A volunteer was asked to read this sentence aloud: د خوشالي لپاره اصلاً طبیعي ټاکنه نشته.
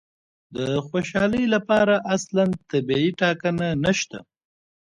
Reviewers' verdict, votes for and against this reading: accepted, 2, 1